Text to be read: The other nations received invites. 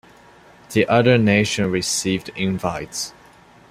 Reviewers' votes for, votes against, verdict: 0, 2, rejected